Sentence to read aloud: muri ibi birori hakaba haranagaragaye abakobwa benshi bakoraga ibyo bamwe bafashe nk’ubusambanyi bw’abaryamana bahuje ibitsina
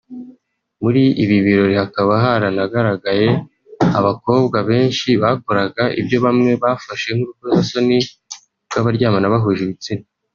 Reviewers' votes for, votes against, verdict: 0, 2, rejected